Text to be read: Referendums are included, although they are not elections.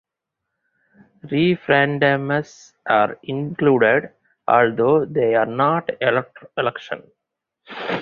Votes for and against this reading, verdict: 2, 2, rejected